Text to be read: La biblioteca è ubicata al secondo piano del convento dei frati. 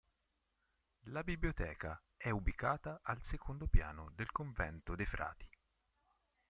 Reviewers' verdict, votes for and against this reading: rejected, 0, 2